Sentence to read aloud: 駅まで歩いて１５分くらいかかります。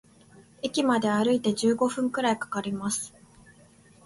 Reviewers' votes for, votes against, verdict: 0, 2, rejected